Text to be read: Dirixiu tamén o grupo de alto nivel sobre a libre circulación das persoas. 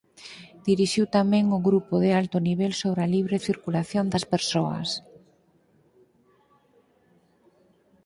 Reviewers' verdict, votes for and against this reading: accepted, 4, 0